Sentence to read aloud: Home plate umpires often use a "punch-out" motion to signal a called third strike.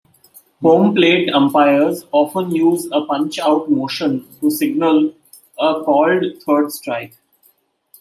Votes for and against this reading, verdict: 2, 0, accepted